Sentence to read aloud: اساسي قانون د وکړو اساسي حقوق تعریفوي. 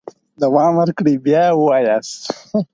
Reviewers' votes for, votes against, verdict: 0, 4, rejected